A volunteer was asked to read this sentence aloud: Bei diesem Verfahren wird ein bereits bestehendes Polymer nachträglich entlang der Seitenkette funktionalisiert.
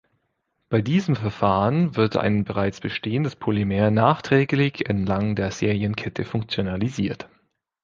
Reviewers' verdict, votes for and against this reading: rejected, 0, 2